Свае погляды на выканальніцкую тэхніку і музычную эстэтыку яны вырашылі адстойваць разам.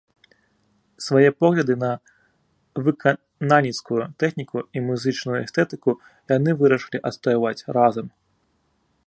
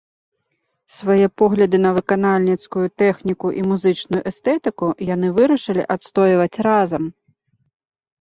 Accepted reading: second